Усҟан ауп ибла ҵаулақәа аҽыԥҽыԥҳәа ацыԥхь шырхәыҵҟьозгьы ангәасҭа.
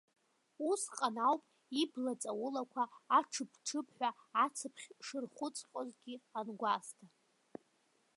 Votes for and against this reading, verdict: 0, 2, rejected